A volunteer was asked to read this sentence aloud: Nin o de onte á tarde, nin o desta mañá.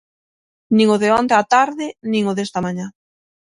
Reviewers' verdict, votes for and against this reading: accepted, 6, 0